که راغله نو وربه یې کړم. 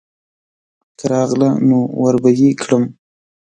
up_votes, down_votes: 4, 0